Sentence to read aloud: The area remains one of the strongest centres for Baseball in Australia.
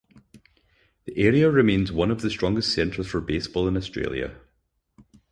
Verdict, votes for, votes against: accepted, 4, 0